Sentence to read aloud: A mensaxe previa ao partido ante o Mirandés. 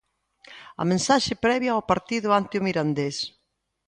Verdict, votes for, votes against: accepted, 3, 0